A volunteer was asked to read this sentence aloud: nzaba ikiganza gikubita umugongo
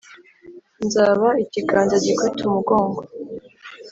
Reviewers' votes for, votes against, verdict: 3, 0, accepted